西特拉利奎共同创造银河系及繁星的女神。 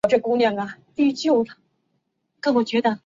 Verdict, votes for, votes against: rejected, 0, 3